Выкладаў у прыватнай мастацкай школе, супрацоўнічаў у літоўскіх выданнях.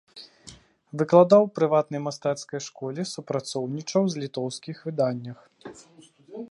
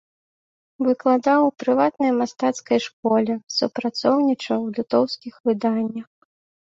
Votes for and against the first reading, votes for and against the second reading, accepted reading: 0, 2, 2, 0, second